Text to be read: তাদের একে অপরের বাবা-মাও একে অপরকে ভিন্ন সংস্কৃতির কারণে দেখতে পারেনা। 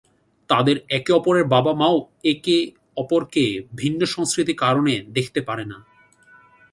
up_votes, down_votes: 2, 0